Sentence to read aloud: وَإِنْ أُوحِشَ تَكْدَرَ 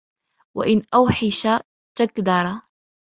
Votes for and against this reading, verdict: 2, 0, accepted